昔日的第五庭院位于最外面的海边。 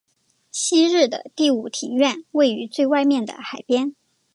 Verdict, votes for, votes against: accepted, 3, 0